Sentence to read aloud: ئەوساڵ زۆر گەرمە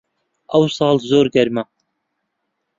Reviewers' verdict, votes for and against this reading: accepted, 2, 0